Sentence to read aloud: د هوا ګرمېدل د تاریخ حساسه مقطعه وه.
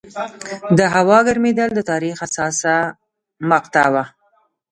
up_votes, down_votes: 2, 0